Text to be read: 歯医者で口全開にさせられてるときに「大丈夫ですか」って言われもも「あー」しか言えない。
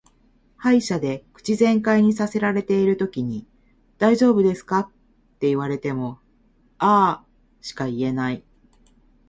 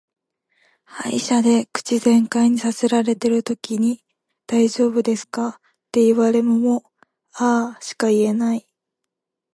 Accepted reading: second